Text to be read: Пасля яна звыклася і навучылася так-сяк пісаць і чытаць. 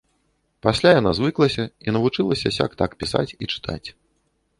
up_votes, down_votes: 0, 2